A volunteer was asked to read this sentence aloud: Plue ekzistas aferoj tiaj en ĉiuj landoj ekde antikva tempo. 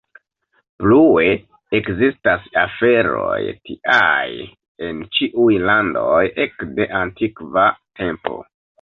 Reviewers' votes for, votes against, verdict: 1, 2, rejected